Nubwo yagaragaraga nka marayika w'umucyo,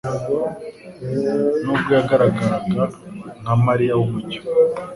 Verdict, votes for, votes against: rejected, 1, 2